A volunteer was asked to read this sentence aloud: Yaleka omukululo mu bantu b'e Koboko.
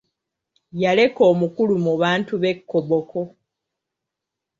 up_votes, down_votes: 0, 2